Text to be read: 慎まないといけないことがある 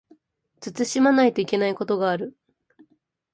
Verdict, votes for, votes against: accepted, 2, 0